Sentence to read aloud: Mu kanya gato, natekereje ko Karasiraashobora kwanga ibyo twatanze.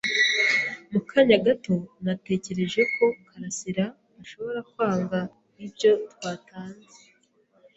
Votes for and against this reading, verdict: 2, 0, accepted